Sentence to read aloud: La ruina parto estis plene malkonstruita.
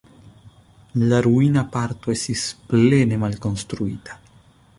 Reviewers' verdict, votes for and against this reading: rejected, 1, 2